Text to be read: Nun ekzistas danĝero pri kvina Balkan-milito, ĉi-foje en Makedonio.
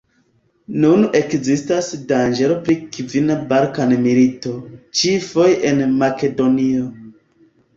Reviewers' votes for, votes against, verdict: 2, 1, accepted